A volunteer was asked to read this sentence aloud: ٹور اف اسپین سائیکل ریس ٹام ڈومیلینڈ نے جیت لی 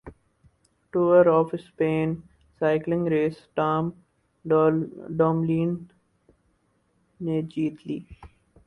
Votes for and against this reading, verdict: 2, 4, rejected